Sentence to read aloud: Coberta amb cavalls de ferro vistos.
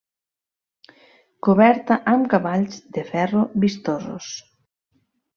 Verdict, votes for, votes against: rejected, 0, 2